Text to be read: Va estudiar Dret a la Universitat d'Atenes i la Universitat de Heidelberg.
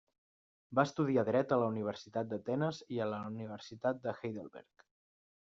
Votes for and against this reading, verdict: 1, 2, rejected